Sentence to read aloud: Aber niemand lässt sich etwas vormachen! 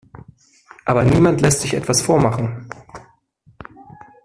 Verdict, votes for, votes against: accepted, 2, 1